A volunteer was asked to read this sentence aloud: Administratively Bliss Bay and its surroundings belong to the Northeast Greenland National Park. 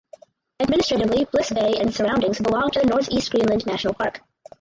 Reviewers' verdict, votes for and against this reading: rejected, 2, 2